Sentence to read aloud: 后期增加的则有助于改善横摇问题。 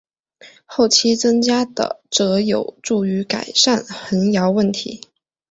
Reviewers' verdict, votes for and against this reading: accepted, 2, 0